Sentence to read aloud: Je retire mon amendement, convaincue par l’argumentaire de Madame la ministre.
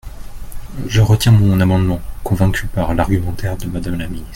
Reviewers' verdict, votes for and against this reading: rejected, 1, 2